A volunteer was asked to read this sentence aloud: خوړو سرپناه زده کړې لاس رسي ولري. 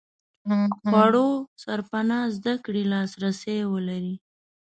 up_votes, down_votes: 0, 2